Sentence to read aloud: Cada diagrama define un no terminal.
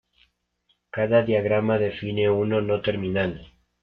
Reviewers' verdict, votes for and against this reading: rejected, 2, 3